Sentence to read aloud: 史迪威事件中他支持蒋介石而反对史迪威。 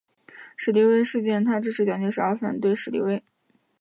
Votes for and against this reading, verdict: 1, 2, rejected